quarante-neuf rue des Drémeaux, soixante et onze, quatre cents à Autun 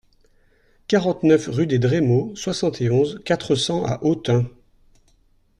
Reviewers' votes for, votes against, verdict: 2, 0, accepted